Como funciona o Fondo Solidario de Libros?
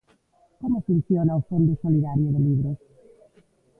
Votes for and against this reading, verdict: 0, 2, rejected